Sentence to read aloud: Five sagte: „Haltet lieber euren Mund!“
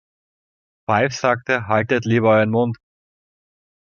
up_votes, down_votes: 0, 2